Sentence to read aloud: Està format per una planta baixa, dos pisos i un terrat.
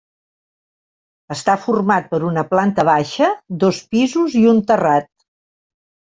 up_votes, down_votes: 3, 0